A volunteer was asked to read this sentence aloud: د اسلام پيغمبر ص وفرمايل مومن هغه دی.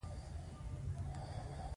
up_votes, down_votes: 2, 0